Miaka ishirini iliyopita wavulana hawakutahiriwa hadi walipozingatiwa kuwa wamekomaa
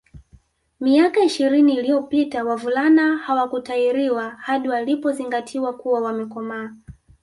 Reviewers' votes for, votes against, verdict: 5, 0, accepted